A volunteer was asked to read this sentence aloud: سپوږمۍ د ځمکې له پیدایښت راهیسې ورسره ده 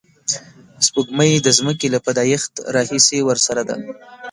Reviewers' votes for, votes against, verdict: 1, 2, rejected